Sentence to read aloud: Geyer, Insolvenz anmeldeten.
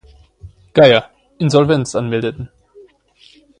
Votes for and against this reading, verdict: 2, 0, accepted